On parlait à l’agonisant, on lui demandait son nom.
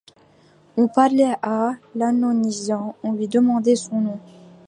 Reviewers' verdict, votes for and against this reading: rejected, 1, 2